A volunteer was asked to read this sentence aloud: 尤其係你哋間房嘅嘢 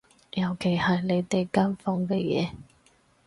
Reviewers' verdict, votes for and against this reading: accepted, 4, 0